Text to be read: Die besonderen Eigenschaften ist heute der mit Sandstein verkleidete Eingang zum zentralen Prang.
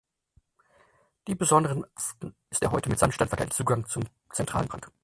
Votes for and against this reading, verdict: 0, 4, rejected